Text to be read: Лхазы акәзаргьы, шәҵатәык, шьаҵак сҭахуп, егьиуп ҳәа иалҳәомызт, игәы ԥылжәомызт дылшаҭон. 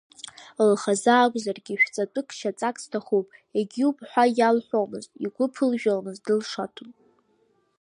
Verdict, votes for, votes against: rejected, 0, 2